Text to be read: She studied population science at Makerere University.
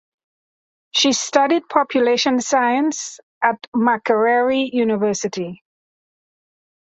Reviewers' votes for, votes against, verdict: 2, 0, accepted